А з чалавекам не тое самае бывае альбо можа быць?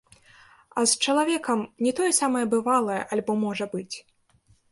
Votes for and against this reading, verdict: 0, 2, rejected